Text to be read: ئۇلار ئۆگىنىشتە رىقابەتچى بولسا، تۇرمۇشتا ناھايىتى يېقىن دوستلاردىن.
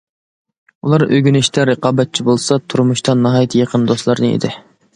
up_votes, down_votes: 0, 2